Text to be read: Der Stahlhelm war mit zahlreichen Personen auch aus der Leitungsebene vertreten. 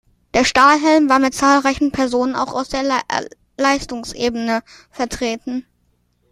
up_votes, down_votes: 0, 2